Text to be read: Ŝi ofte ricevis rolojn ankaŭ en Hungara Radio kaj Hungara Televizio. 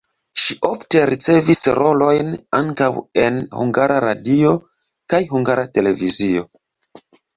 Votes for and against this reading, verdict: 2, 0, accepted